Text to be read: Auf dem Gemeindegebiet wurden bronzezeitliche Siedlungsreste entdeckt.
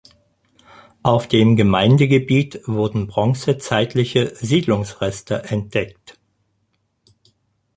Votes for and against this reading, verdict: 4, 0, accepted